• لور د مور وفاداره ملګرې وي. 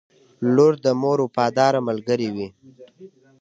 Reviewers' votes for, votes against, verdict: 2, 1, accepted